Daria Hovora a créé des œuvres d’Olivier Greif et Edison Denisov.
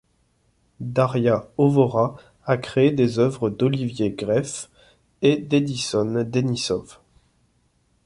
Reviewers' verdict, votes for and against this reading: rejected, 1, 2